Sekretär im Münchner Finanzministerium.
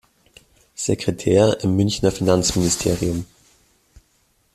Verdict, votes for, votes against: rejected, 0, 2